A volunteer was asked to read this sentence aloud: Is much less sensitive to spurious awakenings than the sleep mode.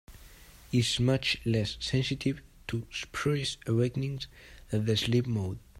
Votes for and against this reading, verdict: 2, 0, accepted